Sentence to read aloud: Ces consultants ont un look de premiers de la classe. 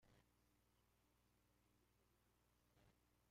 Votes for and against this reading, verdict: 0, 2, rejected